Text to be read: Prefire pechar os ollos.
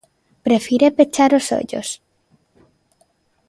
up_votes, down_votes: 2, 0